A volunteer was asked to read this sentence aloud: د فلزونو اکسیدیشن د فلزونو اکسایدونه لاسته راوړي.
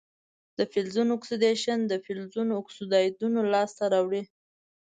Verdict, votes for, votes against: accepted, 3, 1